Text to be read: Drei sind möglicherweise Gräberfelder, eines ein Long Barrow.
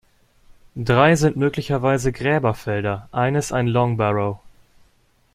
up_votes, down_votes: 2, 0